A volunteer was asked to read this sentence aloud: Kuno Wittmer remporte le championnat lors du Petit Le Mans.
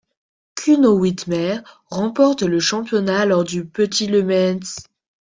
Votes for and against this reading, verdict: 0, 2, rejected